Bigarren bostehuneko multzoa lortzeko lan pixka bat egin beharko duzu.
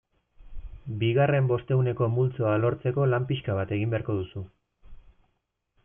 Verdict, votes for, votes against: accepted, 2, 0